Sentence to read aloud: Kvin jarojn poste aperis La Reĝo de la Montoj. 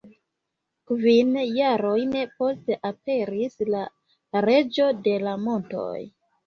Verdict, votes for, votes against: accepted, 2, 0